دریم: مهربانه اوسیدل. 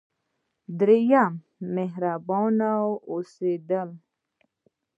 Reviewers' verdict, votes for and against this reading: rejected, 0, 2